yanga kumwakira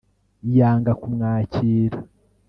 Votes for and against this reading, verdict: 1, 2, rejected